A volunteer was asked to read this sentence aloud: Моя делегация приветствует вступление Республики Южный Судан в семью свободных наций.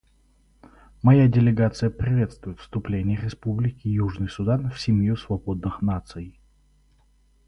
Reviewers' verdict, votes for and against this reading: accepted, 2, 0